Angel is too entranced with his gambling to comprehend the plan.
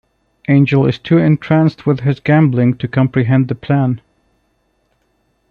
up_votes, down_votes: 2, 1